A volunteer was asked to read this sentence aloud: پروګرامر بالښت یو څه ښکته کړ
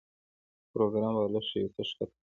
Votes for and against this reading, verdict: 0, 2, rejected